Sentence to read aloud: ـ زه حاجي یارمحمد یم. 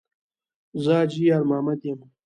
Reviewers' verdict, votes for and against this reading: accepted, 2, 0